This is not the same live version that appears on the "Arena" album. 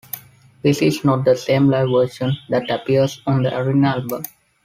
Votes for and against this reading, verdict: 2, 1, accepted